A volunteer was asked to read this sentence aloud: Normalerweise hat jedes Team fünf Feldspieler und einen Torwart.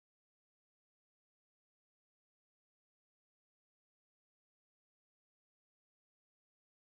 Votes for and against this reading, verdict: 0, 2, rejected